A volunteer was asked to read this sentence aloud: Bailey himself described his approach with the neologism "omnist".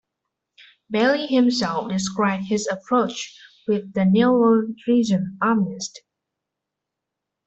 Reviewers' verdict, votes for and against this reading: rejected, 0, 2